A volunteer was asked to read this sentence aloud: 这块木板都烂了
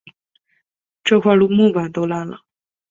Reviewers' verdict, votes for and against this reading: accepted, 2, 0